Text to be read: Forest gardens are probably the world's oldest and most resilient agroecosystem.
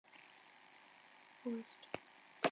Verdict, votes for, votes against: rejected, 0, 3